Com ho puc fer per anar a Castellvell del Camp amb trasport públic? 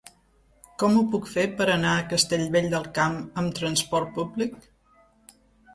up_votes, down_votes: 3, 0